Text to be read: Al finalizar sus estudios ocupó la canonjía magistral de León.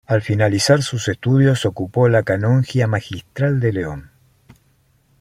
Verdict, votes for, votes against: accepted, 2, 0